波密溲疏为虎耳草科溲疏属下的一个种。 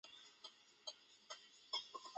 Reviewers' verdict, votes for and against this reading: accepted, 2, 0